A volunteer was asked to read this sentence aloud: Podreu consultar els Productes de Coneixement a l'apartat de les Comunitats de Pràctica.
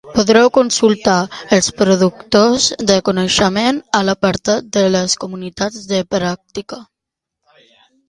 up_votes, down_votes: 1, 2